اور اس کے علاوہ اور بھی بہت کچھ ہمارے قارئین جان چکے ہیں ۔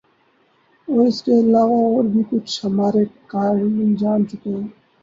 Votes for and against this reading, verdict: 0, 2, rejected